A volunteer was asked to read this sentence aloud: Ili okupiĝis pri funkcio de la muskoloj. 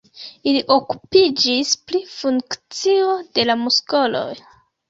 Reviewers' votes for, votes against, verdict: 2, 0, accepted